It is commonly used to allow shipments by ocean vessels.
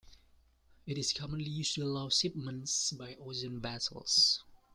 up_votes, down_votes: 1, 2